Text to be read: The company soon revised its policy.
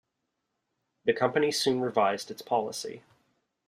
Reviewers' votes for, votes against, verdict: 2, 0, accepted